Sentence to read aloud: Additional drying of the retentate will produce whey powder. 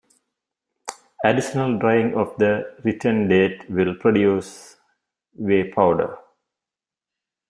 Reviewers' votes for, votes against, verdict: 2, 1, accepted